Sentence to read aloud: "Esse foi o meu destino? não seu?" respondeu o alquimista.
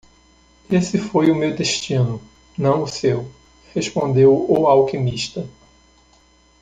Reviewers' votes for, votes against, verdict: 0, 2, rejected